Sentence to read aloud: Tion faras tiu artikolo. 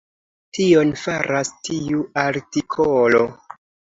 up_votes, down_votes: 0, 2